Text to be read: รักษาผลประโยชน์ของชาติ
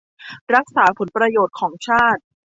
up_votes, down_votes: 2, 0